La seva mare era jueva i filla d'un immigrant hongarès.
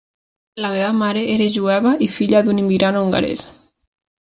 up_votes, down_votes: 1, 2